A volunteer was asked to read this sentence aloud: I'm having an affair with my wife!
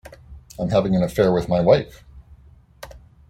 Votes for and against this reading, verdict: 2, 1, accepted